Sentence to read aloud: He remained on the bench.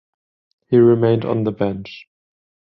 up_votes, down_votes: 10, 0